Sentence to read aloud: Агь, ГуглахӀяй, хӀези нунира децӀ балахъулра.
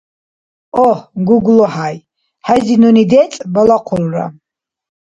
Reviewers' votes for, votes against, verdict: 0, 2, rejected